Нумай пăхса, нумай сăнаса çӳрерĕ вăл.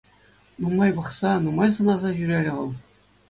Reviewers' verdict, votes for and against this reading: accepted, 2, 0